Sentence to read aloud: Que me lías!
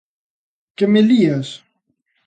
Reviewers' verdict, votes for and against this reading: accepted, 3, 0